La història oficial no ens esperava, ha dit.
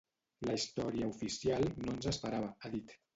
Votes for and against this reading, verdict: 0, 2, rejected